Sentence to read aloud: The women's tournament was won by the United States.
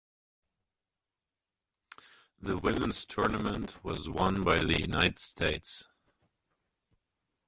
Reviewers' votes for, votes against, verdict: 1, 2, rejected